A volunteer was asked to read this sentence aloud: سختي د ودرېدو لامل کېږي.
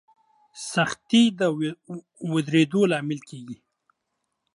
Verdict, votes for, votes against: rejected, 0, 2